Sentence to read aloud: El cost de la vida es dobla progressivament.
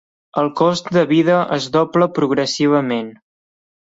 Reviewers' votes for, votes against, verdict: 1, 2, rejected